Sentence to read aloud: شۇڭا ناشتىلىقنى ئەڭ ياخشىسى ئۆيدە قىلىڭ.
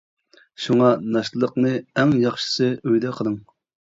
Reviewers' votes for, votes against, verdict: 2, 0, accepted